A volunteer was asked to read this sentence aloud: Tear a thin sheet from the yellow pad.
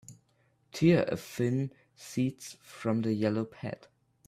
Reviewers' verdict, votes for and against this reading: rejected, 0, 3